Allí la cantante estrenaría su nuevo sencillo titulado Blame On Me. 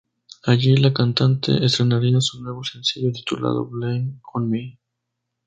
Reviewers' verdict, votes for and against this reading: accepted, 2, 0